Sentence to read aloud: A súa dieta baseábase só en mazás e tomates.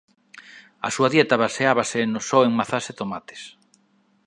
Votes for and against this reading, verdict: 0, 2, rejected